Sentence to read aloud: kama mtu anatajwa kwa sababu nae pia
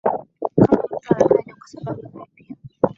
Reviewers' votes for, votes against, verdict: 0, 3, rejected